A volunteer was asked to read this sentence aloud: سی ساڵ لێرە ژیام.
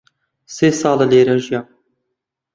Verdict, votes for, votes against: rejected, 1, 2